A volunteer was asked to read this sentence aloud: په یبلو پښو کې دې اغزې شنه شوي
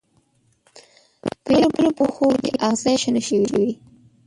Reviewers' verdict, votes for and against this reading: rejected, 0, 2